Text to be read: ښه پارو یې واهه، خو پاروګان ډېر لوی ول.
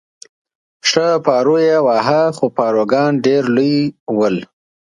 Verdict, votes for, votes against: accepted, 2, 0